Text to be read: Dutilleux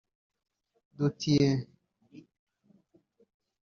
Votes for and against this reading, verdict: 0, 2, rejected